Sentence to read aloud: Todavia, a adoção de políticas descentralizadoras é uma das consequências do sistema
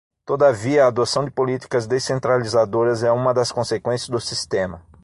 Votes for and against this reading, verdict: 6, 0, accepted